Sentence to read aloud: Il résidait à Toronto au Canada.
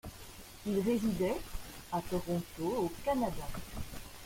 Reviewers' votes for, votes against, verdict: 2, 0, accepted